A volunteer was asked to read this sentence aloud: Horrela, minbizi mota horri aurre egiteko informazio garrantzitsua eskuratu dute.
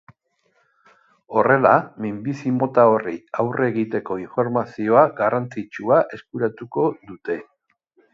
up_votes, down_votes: 0, 2